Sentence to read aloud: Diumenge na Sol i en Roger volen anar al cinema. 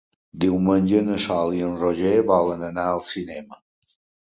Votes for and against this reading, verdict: 2, 0, accepted